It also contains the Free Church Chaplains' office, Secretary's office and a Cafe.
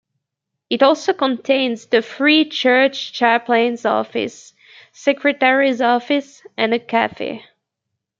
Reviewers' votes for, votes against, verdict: 2, 0, accepted